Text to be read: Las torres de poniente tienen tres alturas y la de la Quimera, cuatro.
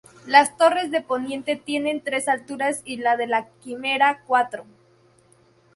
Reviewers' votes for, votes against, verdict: 4, 0, accepted